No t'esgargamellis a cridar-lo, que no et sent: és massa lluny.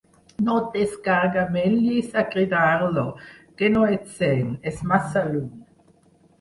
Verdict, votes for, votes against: rejected, 4, 6